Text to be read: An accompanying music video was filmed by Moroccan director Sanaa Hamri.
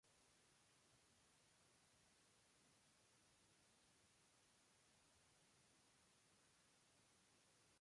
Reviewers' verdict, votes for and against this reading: rejected, 0, 2